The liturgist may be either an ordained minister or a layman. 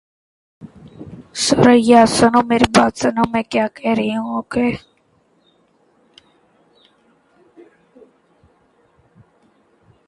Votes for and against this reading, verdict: 0, 2, rejected